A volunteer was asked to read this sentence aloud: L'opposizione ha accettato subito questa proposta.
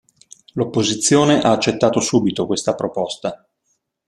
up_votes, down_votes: 2, 0